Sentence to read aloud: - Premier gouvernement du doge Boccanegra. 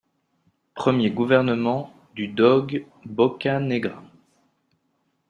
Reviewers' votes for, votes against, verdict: 0, 2, rejected